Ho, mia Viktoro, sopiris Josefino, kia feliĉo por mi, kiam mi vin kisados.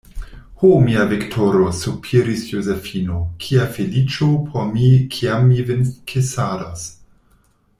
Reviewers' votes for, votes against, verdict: 1, 2, rejected